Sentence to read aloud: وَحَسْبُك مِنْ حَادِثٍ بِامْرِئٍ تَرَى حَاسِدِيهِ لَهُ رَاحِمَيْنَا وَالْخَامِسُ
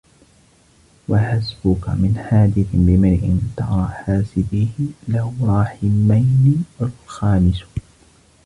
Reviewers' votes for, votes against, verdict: 2, 0, accepted